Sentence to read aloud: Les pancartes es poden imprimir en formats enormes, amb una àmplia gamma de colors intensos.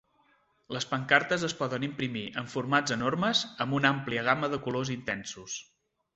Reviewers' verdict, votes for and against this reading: accepted, 2, 0